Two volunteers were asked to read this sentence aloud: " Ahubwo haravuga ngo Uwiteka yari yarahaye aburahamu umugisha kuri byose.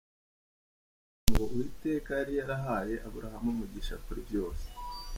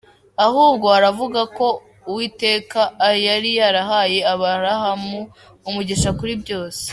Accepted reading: first